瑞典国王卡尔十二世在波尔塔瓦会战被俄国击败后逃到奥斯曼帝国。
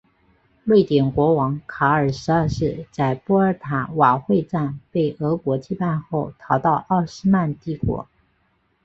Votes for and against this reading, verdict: 2, 1, accepted